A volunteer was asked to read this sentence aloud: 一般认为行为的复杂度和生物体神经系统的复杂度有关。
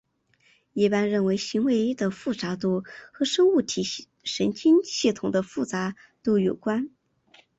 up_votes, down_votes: 2, 1